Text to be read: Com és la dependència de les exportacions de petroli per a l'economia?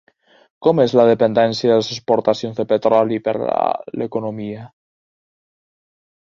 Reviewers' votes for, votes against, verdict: 0, 2, rejected